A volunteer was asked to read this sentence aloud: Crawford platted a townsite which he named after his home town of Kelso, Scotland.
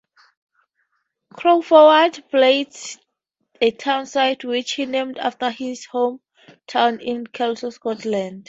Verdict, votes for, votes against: rejected, 0, 4